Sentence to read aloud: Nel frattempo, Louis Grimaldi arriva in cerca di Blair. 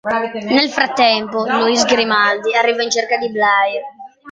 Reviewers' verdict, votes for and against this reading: accepted, 2, 0